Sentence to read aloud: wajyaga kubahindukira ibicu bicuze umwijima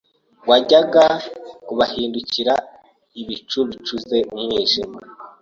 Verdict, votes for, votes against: accepted, 2, 0